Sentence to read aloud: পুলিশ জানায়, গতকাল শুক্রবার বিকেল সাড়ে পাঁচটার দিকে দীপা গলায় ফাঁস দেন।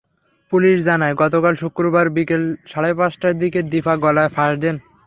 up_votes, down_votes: 3, 0